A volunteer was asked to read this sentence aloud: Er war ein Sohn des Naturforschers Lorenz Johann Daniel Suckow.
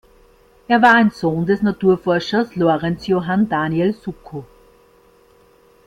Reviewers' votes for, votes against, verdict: 2, 0, accepted